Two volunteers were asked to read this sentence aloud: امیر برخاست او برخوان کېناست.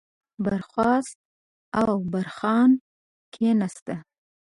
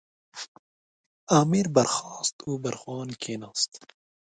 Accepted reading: second